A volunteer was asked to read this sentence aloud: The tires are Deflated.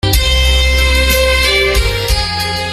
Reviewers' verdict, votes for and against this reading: rejected, 0, 2